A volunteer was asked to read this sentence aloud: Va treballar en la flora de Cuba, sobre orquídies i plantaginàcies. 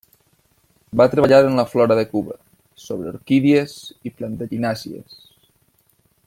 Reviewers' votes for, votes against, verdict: 2, 0, accepted